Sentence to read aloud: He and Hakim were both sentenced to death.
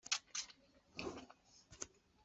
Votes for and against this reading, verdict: 0, 2, rejected